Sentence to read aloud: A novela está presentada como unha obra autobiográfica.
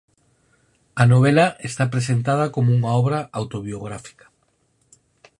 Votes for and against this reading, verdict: 4, 0, accepted